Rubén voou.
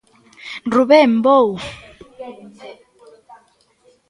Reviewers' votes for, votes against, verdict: 0, 2, rejected